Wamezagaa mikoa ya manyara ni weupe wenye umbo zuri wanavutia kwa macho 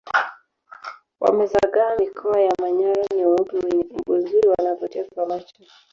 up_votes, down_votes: 0, 2